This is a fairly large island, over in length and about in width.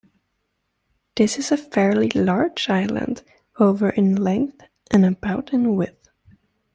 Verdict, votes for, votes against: rejected, 1, 2